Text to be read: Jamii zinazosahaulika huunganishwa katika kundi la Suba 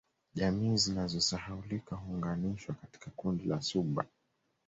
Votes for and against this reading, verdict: 1, 2, rejected